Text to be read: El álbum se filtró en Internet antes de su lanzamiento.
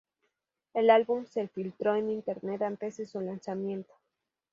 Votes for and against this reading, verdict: 2, 0, accepted